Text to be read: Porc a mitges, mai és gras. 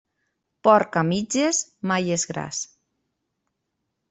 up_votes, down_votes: 2, 0